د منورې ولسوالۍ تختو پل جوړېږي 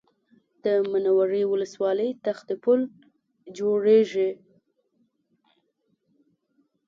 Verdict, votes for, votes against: accepted, 2, 1